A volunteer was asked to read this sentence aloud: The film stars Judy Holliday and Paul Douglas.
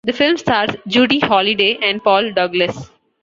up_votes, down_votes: 2, 0